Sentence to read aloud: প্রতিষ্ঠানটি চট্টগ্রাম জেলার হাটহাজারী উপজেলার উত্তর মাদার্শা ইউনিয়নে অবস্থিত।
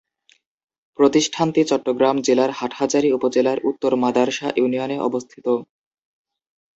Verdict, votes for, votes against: accepted, 2, 0